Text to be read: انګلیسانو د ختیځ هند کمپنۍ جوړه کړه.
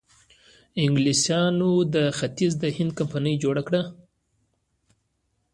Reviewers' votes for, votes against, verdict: 1, 2, rejected